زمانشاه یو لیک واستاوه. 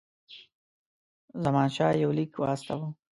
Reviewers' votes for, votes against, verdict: 2, 0, accepted